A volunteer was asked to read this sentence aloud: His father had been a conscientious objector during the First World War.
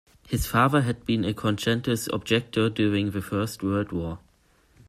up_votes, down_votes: 1, 2